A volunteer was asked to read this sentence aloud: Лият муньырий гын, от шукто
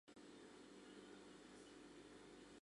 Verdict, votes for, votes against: rejected, 0, 2